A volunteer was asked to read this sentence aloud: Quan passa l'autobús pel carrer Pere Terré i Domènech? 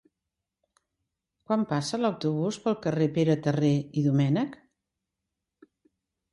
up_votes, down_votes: 2, 0